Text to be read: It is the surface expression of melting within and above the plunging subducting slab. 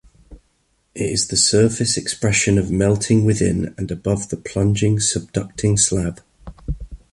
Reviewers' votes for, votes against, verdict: 2, 0, accepted